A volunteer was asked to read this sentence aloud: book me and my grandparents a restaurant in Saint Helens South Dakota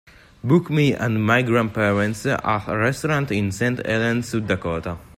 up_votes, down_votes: 2, 1